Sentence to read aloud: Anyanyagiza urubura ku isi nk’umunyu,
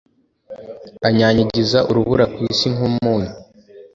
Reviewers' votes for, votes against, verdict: 2, 0, accepted